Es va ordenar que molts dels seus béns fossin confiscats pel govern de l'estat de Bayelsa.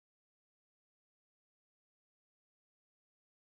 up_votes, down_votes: 1, 2